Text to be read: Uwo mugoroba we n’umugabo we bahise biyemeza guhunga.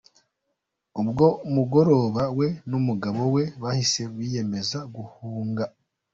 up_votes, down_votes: 0, 2